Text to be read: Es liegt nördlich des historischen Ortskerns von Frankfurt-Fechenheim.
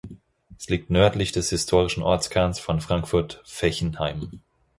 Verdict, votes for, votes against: accepted, 4, 0